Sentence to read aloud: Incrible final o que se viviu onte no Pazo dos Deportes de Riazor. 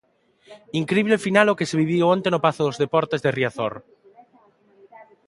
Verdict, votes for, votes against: accepted, 2, 1